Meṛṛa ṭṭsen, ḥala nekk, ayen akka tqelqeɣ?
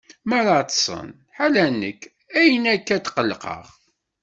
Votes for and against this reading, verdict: 2, 0, accepted